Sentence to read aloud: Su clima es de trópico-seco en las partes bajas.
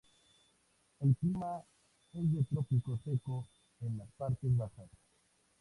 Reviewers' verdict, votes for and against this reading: rejected, 2, 2